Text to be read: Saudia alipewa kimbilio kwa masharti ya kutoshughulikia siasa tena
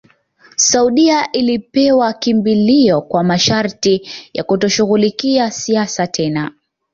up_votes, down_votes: 2, 0